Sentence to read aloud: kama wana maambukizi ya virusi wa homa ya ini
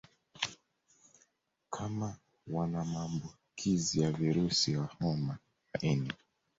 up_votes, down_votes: 1, 2